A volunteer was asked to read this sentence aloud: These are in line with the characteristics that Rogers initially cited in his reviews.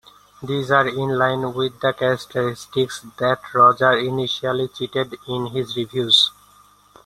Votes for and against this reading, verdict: 2, 1, accepted